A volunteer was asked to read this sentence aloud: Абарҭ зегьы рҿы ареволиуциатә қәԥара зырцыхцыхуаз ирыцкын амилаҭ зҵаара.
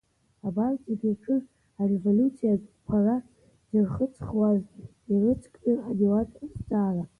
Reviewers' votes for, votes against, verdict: 1, 2, rejected